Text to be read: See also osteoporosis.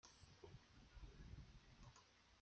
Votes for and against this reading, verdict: 0, 3, rejected